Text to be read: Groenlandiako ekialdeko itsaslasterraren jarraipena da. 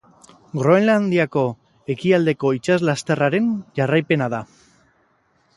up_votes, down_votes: 4, 0